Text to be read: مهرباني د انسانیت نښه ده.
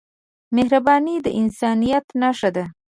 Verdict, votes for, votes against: accepted, 2, 0